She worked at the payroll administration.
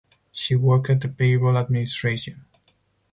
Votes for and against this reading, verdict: 4, 0, accepted